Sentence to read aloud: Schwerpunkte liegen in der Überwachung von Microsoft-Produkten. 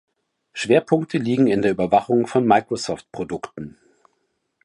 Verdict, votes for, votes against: accepted, 2, 0